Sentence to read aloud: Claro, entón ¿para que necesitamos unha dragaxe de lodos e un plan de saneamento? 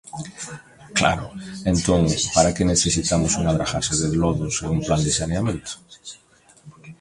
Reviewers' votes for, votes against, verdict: 0, 2, rejected